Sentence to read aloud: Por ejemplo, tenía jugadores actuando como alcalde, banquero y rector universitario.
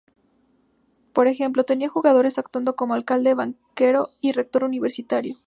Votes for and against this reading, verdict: 2, 0, accepted